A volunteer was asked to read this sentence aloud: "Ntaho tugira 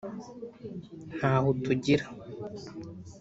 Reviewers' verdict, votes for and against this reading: rejected, 1, 2